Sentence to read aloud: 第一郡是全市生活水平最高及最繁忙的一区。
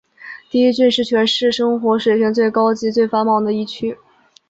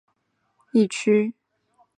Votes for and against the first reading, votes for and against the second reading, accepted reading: 2, 0, 3, 5, first